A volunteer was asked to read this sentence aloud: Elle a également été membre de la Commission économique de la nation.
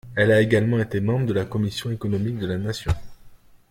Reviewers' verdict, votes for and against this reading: accepted, 2, 0